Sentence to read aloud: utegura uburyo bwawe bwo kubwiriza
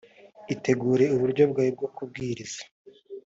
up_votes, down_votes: 4, 3